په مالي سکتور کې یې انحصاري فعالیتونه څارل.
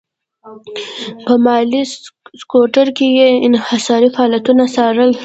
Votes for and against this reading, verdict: 1, 2, rejected